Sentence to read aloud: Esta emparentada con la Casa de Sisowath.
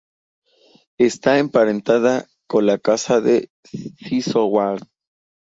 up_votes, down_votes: 2, 2